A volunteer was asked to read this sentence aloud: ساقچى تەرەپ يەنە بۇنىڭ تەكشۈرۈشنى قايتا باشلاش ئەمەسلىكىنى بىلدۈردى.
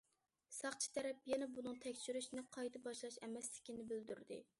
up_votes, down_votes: 2, 0